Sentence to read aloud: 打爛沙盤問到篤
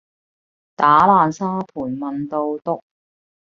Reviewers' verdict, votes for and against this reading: accepted, 2, 0